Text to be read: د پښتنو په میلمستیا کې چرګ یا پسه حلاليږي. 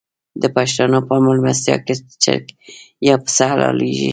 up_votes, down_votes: 0, 2